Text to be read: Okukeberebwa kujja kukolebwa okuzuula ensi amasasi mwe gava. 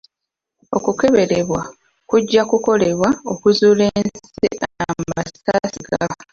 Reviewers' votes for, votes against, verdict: 0, 2, rejected